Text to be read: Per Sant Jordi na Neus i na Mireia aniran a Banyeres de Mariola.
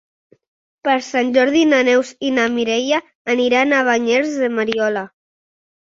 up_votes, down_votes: 2, 0